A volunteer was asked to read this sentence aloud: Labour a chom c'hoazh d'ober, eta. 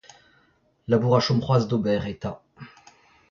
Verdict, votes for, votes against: rejected, 0, 2